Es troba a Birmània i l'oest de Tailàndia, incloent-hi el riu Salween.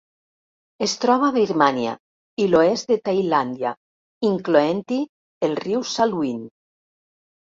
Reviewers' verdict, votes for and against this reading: accepted, 2, 0